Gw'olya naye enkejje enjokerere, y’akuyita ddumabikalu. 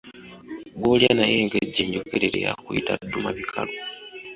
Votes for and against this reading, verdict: 2, 0, accepted